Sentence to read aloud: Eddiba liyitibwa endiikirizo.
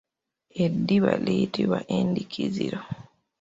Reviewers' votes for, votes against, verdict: 1, 2, rejected